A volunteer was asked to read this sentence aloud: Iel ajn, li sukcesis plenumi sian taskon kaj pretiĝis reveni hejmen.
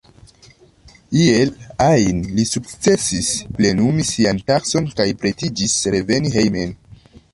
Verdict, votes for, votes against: rejected, 1, 2